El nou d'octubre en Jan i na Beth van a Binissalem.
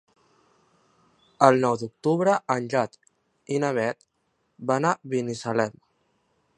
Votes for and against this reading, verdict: 3, 4, rejected